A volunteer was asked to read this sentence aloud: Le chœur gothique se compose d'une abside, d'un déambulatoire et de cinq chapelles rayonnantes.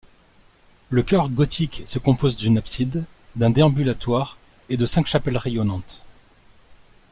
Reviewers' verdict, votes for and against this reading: accepted, 3, 0